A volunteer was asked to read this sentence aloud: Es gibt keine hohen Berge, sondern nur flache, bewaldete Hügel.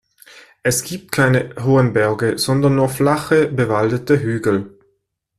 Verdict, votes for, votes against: accepted, 2, 0